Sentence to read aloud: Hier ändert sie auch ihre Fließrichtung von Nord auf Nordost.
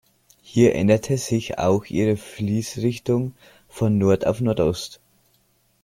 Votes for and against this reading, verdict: 0, 2, rejected